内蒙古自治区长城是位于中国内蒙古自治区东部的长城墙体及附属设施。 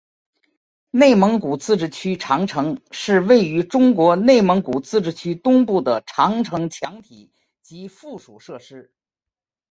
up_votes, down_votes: 5, 1